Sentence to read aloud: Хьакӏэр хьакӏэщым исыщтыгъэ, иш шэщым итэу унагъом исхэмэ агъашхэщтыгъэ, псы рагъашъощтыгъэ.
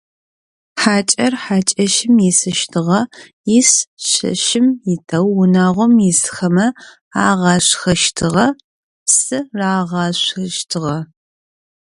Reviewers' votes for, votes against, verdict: 2, 0, accepted